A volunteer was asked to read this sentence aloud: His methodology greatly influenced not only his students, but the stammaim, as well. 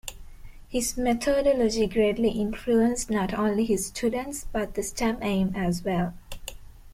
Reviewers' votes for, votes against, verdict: 2, 0, accepted